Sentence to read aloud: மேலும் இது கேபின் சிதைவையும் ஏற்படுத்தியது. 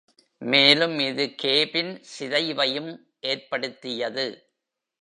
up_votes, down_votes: 2, 0